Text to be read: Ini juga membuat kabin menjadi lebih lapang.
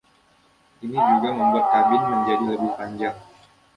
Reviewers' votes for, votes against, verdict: 0, 2, rejected